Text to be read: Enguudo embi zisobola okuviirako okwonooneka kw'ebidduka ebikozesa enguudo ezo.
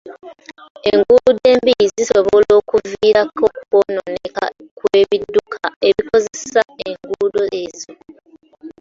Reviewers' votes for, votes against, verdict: 1, 2, rejected